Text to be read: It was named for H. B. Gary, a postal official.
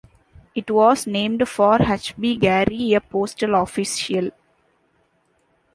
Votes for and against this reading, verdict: 0, 2, rejected